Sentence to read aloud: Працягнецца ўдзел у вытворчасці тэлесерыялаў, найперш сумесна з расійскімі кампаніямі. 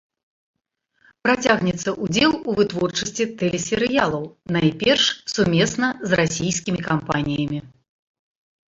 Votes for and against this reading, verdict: 0, 2, rejected